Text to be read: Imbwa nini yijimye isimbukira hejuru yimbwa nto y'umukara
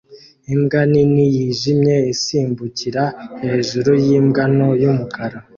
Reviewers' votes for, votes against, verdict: 2, 1, accepted